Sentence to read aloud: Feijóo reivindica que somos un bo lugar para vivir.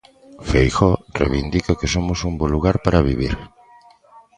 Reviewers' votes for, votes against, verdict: 2, 0, accepted